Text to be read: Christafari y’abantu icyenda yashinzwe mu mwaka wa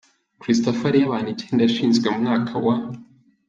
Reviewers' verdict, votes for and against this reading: accepted, 3, 1